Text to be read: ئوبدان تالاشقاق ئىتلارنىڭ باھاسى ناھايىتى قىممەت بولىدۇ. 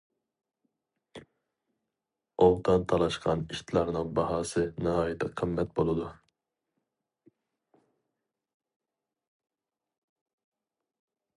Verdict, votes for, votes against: rejected, 0, 2